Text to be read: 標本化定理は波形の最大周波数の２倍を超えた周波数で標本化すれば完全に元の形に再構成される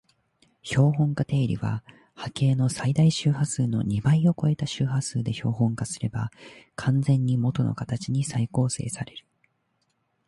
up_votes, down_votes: 0, 2